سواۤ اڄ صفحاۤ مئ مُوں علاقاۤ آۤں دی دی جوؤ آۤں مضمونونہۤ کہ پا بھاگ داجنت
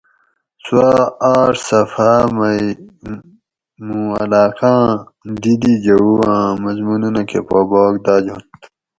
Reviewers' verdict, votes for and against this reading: rejected, 2, 2